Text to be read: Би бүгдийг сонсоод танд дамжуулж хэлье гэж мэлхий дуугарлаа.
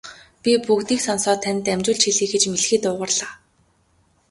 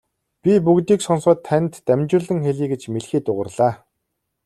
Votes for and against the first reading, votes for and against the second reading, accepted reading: 2, 0, 1, 2, first